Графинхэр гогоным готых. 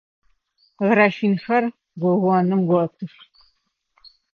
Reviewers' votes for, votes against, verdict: 2, 0, accepted